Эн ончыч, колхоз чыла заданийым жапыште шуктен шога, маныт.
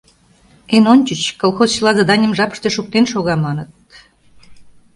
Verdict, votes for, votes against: accepted, 2, 0